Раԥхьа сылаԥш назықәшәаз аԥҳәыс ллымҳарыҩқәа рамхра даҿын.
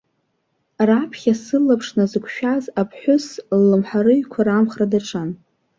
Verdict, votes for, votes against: rejected, 1, 2